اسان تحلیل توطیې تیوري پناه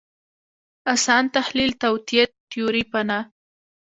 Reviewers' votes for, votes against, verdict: 0, 2, rejected